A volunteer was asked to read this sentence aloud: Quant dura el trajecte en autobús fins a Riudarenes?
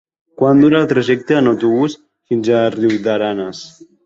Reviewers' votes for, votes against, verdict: 1, 2, rejected